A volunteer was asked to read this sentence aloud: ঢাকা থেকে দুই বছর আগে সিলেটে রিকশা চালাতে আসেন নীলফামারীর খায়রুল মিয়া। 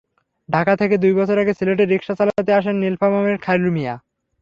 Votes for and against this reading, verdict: 3, 0, accepted